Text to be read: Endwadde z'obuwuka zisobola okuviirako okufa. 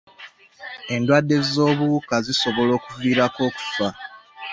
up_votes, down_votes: 0, 2